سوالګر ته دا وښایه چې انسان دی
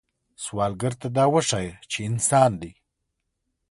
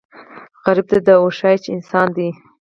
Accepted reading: first